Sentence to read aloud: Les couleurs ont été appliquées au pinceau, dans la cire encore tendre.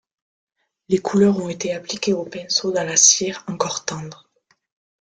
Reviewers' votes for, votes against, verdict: 2, 0, accepted